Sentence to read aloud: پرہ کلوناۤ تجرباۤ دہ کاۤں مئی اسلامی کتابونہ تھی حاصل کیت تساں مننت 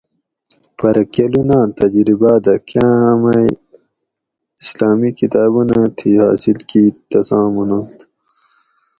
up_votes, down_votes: 4, 0